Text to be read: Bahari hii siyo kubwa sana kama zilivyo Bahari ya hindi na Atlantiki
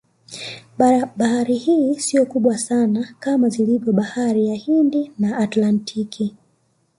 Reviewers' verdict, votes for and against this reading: accepted, 2, 0